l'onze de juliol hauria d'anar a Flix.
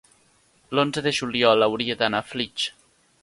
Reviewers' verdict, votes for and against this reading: accepted, 3, 0